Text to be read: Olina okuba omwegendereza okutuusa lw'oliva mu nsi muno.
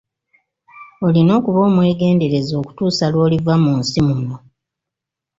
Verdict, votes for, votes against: accepted, 2, 0